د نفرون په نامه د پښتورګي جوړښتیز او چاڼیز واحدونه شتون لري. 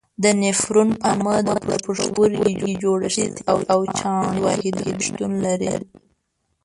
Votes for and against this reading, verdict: 2, 3, rejected